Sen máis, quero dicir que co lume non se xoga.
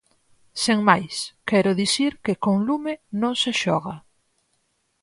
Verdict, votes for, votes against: rejected, 0, 4